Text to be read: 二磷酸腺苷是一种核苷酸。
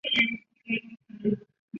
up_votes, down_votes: 1, 2